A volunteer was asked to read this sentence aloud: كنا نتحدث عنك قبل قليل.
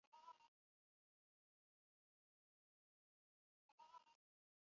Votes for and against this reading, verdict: 0, 2, rejected